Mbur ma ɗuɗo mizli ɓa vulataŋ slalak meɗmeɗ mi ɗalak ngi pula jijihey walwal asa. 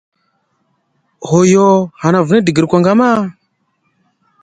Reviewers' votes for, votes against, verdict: 0, 2, rejected